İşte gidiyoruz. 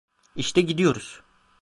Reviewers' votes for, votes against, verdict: 2, 0, accepted